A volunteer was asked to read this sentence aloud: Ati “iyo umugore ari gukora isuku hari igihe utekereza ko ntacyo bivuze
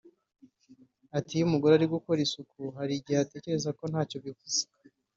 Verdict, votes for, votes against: accepted, 3, 0